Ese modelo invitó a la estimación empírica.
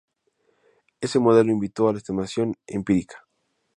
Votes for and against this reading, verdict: 2, 0, accepted